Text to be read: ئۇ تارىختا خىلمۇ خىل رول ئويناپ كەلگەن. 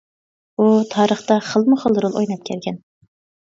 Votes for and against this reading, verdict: 2, 0, accepted